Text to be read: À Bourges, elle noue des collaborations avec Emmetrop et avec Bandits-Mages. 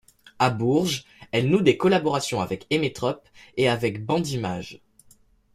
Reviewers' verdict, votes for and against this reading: accepted, 2, 0